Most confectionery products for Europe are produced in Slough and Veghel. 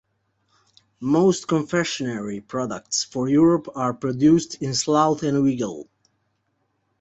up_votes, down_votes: 1, 2